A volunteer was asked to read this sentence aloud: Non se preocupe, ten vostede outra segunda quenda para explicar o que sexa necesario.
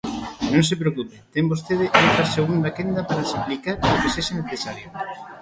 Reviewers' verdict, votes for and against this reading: rejected, 1, 2